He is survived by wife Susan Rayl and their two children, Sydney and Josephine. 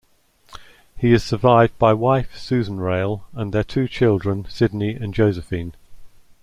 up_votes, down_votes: 2, 0